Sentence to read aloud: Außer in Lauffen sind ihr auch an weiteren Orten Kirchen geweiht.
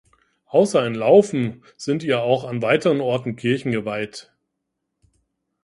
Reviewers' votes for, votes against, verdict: 2, 0, accepted